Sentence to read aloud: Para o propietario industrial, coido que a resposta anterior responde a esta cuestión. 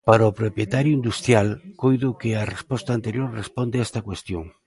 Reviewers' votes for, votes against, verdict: 2, 0, accepted